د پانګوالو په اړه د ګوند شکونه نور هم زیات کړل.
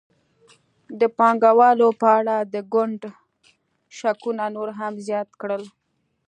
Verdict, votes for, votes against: accepted, 2, 0